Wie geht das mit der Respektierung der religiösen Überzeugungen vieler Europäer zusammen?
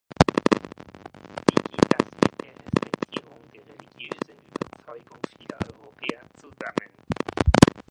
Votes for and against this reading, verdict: 0, 2, rejected